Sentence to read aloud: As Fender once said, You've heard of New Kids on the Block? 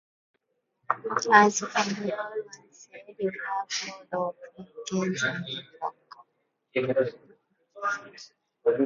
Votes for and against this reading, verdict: 0, 2, rejected